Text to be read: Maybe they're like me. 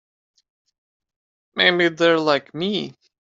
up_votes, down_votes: 2, 0